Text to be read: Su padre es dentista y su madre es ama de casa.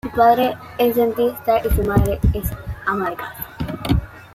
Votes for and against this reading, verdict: 0, 2, rejected